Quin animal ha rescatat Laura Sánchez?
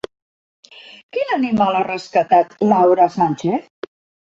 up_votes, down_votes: 2, 0